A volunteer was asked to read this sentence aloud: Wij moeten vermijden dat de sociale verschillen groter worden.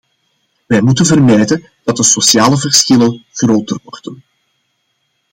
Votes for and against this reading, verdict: 2, 0, accepted